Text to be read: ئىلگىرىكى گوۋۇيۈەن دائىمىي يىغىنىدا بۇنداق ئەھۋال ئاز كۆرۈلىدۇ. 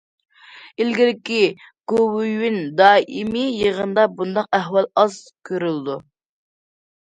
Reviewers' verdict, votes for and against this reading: rejected, 0, 2